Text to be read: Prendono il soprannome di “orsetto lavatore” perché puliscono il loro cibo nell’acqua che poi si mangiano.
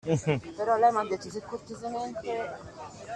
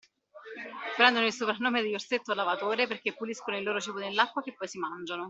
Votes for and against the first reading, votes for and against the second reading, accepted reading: 0, 2, 2, 1, second